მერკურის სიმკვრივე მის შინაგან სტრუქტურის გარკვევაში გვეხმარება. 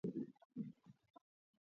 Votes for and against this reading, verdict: 2, 0, accepted